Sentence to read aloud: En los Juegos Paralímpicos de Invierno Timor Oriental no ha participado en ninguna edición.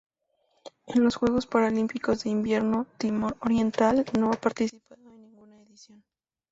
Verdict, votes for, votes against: accepted, 2, 0